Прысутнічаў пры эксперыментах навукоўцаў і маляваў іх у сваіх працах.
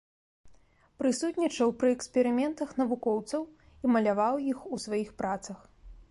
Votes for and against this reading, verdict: 1, 2, rejected